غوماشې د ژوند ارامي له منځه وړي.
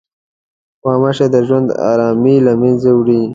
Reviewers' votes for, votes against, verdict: 2, 0, accepted